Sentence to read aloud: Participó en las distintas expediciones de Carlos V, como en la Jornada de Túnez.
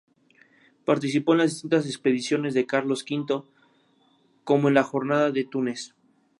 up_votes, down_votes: 2, 0